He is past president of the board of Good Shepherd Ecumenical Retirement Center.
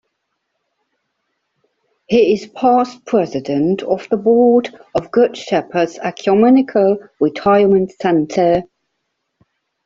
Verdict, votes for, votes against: accepted, 2, 1